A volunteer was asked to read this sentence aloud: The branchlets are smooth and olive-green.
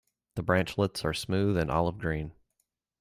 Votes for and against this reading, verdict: 2, 0, accepted